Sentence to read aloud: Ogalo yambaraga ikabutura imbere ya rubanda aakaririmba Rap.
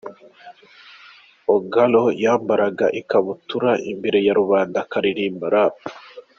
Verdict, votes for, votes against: accepted, 2, 1